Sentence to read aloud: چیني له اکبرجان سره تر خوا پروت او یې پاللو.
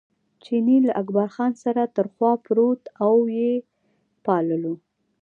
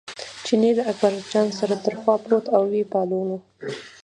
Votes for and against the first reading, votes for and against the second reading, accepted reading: 1, 3, 2, 0, second